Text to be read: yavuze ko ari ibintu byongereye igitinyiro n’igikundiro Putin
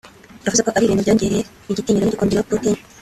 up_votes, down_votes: 0, 2